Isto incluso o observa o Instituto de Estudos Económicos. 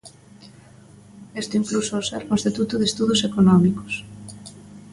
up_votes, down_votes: 0, 2